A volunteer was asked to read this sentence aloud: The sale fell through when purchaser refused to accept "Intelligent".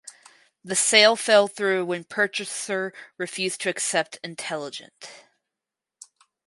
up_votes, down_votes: 4, 0